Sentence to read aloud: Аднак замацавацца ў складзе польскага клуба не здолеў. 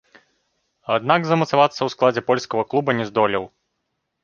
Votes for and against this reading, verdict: 3, 0, accepted